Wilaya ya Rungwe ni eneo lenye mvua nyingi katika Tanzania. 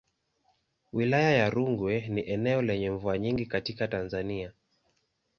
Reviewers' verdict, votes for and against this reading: accepted, 2, 0